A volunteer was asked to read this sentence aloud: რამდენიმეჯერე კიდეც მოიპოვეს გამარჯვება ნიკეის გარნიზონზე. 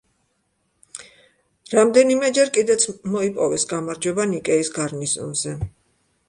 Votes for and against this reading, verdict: 2, 1, accepted